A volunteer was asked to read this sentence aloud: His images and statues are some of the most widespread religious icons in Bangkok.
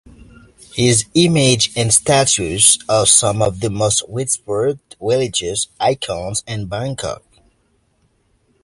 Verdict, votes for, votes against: rejected, 1, 2